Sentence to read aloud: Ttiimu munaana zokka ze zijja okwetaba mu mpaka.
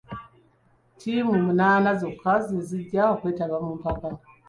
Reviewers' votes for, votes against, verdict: 2, 0, accepted